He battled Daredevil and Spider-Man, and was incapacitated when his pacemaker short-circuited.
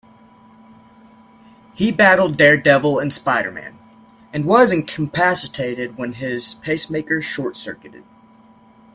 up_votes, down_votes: 0, 2